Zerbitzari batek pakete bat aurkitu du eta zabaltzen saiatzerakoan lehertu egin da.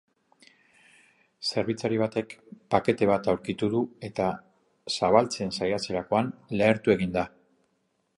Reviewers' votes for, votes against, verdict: 2, 0, accepted